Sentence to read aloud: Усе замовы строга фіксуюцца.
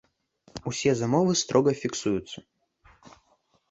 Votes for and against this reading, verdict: 0, 2, rejected